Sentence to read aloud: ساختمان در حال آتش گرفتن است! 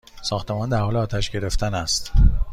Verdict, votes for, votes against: accepted, 2, 0